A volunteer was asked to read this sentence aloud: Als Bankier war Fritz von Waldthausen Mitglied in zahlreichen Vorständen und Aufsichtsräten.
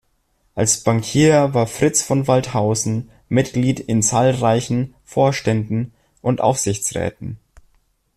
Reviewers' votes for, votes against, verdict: 2, 0, accepted